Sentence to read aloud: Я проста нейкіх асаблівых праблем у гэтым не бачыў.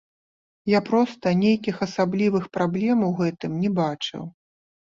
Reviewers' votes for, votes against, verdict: 1, 2, rejected